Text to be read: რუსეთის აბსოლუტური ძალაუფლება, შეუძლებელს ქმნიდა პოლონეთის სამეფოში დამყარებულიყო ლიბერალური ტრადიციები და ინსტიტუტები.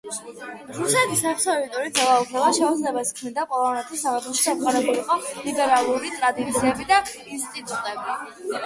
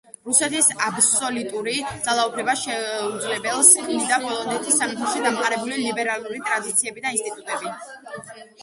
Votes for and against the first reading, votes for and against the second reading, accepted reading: 2, 1, 0, 2, first